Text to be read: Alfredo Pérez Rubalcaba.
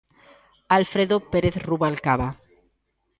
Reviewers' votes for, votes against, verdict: 2, 0, accepted